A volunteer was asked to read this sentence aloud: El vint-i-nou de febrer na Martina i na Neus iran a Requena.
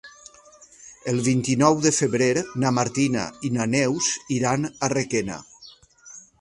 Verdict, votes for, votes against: rejected, 0, 2